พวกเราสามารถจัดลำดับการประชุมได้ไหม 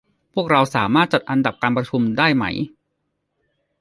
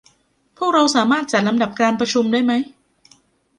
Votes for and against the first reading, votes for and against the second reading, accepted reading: 1, 2, 2, 0, second